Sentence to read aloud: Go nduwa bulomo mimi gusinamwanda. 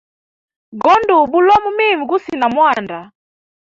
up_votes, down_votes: 2, 1